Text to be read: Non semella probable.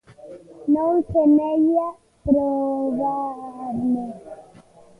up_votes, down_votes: 1, 2